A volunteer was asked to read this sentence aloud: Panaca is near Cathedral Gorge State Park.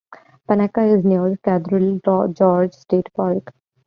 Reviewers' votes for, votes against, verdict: 1, 2, rejected